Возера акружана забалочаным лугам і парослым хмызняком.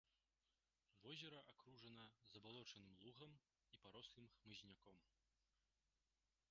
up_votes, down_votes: 1, 2